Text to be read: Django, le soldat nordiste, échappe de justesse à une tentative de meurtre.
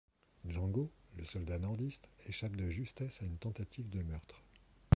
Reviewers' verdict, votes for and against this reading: rejected, 1, 2